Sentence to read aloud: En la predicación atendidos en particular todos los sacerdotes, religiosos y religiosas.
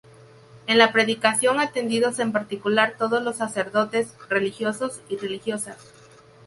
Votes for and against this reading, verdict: 4, 0, accepted